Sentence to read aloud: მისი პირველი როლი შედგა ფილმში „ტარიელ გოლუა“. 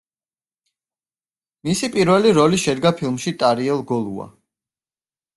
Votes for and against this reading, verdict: 2, 0, accepted